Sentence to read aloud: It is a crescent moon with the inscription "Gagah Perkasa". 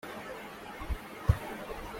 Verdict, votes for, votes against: rejected, 1, 2